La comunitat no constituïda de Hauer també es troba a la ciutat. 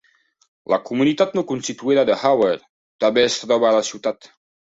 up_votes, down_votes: 1, 2